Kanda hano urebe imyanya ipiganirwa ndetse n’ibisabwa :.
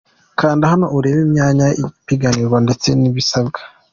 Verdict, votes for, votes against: accepted, 2, 0